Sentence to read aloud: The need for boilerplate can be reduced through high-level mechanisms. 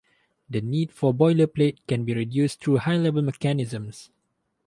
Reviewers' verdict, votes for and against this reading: accepted, 4, 0